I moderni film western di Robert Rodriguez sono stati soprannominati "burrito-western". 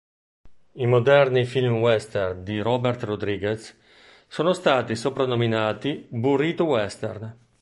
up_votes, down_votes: 2, 0